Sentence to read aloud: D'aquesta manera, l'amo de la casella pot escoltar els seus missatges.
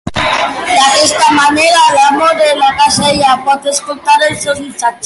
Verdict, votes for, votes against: rejected, 0, 2